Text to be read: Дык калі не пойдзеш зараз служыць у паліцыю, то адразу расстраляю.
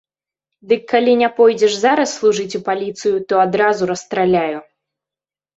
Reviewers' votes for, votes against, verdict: 2, 0, accepted